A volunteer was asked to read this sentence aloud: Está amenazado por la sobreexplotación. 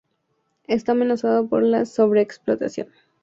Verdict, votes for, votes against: accepted, 2, 0